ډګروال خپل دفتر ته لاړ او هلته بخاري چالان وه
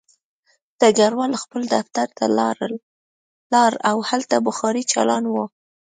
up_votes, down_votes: 1, 2